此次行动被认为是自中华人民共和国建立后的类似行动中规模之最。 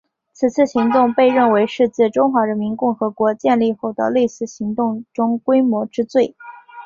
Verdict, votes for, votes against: accepted, 2, 1